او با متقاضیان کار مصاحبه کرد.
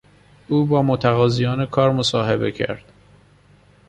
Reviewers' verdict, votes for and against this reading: accepted, 2, 0